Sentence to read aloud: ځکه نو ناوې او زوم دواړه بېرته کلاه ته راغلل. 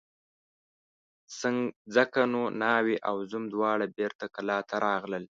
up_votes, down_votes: 1, 2